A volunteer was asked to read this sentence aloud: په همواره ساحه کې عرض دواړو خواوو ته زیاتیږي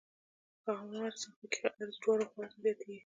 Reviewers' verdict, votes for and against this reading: rejected, 1, 2